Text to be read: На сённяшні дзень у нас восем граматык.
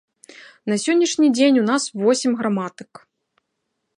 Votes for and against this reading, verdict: 3, 0, accepted